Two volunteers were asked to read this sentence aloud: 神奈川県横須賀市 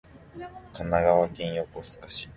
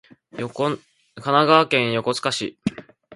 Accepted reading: first